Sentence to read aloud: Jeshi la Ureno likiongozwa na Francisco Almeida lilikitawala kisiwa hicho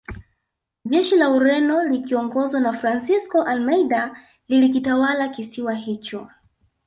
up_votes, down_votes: 0, 2